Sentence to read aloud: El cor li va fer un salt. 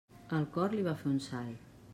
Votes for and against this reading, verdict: 2, 0, accepted